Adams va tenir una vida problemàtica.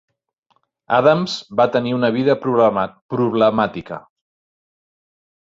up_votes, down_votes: 0, 3